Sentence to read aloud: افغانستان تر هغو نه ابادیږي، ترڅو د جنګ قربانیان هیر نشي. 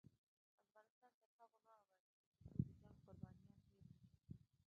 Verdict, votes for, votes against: rejected, 1, 2